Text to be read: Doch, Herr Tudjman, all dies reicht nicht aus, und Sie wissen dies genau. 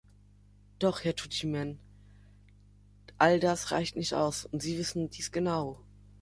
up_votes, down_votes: 0, 2